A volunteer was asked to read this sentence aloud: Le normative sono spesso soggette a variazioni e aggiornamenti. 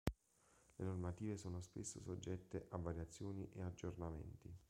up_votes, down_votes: 0, 2